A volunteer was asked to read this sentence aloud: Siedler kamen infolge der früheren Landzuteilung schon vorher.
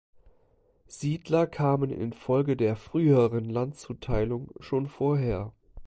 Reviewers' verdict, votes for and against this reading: accepted, 2, 0